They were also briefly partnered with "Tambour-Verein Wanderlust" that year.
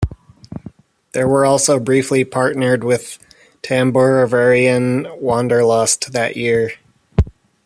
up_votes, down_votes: 2, 2